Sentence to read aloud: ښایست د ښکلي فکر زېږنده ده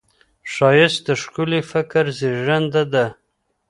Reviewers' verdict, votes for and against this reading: accepted, 2, 0